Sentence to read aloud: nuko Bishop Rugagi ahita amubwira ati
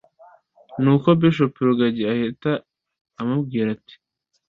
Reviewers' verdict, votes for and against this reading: accepted, 2, 0